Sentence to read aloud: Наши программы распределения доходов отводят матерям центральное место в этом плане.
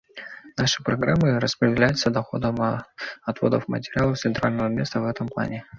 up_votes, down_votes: 0, 2